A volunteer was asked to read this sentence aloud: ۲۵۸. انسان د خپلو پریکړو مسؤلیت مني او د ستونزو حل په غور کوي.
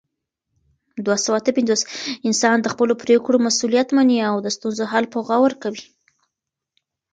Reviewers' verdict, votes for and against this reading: rejected, 0, 2